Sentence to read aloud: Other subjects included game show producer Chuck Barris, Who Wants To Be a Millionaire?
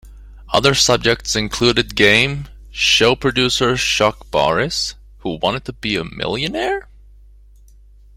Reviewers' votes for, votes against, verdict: 2, 1, accepted